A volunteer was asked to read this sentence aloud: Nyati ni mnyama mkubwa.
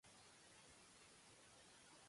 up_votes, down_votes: 1, 2